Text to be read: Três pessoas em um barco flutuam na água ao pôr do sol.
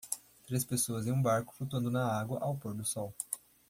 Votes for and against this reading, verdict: 0, 2, rejected